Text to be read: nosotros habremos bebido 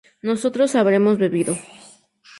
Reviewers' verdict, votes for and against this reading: accepted, 4, 0